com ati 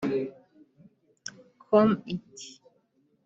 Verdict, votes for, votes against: rejected, 1, 2